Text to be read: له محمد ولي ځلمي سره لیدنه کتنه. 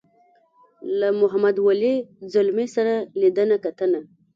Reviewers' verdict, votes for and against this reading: accepted, 2, 1